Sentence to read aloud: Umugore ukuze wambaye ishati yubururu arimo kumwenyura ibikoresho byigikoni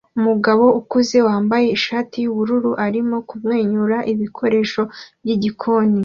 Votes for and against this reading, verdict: 2, 0, accepted